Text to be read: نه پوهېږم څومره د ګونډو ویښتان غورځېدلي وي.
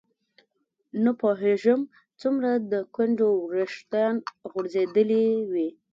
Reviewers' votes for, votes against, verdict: 0, 2, rejected